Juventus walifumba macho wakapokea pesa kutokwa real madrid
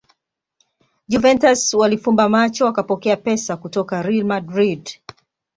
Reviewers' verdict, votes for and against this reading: accepted, 2, 0